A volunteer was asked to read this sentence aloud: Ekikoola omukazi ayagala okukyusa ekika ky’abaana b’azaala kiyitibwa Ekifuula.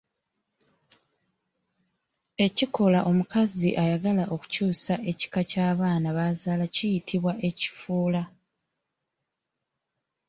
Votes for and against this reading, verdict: 0, 2, rejected